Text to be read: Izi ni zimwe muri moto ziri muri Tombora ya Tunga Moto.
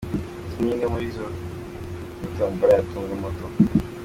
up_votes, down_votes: 2, 1